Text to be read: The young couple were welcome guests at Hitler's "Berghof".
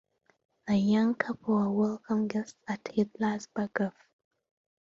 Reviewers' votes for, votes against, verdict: 0, 2, rejected